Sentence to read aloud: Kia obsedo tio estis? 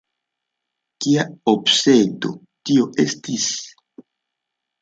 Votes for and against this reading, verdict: 2, 0, accepted